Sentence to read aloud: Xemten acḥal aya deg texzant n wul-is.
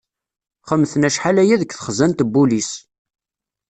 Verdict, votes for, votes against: rejected, 1, 2